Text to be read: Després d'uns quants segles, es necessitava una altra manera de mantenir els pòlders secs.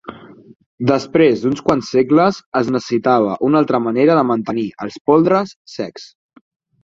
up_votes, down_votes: 2, 4